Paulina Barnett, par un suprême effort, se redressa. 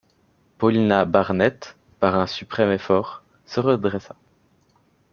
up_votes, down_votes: 0, 2